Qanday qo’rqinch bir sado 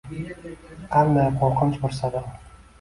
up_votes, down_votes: 0, 2